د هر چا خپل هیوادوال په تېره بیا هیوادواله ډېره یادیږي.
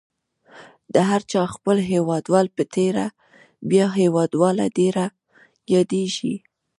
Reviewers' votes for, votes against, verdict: 1, 2, rejected